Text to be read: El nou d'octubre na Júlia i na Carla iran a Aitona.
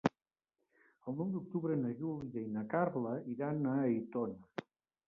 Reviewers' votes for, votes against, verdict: 1, 2, rejected